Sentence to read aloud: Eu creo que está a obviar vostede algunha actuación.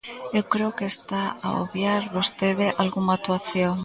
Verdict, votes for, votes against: rejected, 1, 2